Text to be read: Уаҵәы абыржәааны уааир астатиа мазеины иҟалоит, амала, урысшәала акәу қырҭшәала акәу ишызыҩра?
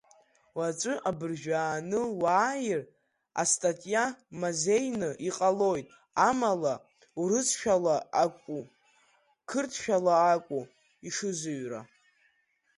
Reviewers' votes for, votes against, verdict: 1, 4, rejected